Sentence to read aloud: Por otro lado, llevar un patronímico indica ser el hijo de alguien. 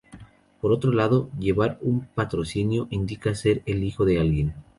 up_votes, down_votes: 0, 2